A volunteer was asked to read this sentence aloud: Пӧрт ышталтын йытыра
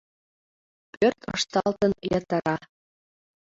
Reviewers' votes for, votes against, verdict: 2, 0, accepted